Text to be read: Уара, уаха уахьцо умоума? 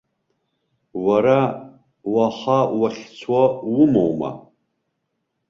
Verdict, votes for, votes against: rejected, 1, 2